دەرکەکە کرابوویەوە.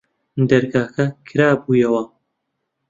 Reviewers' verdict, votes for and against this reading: rejected, 0, 2